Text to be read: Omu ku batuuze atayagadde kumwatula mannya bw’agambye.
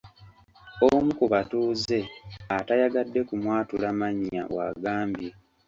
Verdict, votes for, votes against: accepted, 2, 0